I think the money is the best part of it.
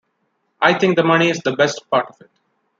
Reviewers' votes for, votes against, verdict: 0, 2, rejected